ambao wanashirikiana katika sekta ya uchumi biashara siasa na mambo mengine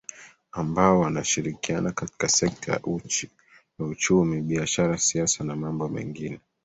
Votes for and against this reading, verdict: 2, 0, accepted